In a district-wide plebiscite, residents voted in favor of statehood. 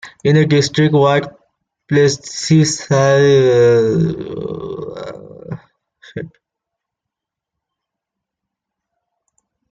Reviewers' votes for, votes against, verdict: 0, 2, rejected